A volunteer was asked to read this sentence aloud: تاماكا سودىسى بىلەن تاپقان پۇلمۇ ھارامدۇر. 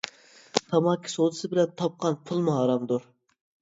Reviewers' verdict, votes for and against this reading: accepted, 2, 0